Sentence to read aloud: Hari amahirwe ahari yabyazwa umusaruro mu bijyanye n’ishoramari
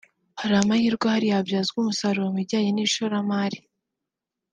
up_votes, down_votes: 3, 0